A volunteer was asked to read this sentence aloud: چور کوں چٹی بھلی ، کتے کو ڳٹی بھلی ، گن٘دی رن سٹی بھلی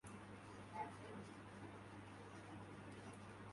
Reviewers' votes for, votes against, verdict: 1, 2, rejected